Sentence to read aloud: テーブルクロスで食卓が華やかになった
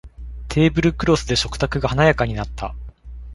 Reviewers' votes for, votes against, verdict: 2, 0, accepted